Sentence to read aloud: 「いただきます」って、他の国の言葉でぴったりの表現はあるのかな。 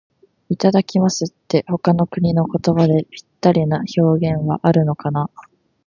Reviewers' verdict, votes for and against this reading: accepted, 2, 0